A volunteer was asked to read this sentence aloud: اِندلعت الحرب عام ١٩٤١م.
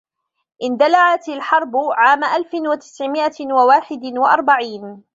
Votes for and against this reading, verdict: 0, 2, rejected